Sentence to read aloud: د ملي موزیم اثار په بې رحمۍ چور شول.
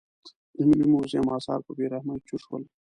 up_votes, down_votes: 1, 2